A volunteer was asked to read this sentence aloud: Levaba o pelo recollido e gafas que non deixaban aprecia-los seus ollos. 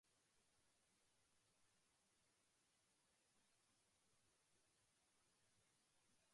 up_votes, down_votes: 0, 2